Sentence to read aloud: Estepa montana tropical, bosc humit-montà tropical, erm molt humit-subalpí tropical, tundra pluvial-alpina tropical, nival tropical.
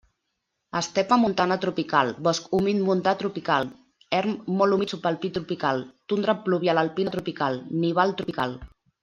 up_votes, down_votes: 2, 0